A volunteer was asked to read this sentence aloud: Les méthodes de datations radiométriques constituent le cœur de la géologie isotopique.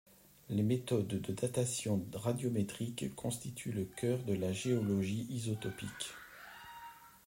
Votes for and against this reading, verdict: 2, 0, accepted